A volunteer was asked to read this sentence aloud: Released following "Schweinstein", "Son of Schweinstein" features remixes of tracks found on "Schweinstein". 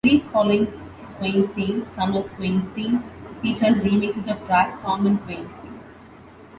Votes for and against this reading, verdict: 0, 2, rejected